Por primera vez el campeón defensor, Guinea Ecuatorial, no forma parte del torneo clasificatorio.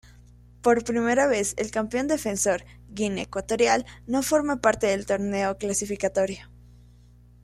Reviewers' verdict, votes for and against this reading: rejected, 1, 2